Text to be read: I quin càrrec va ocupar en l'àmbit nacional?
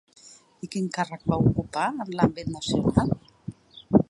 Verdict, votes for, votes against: accepted, 2, 0